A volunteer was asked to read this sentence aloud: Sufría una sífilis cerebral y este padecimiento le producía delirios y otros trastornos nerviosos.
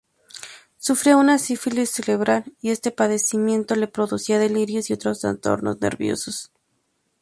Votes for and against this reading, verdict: 0, 2, rejected